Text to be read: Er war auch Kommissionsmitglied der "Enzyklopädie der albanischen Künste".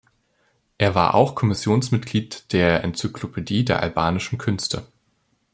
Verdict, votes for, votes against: accepted, 2, 0